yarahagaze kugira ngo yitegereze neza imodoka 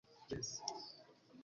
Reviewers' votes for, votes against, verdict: 0, 2, rejected